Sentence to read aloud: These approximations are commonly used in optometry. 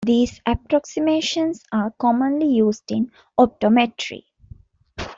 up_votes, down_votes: 2, 0